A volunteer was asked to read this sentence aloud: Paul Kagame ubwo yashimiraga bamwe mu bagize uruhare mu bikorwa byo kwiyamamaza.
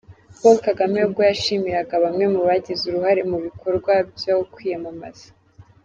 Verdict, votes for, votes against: accepted, 2, 0